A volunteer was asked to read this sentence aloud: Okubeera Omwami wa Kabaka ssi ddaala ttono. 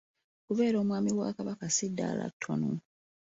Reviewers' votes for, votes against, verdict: 2, 0, accepted